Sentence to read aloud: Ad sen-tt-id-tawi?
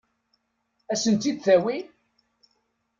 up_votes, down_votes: 2, 0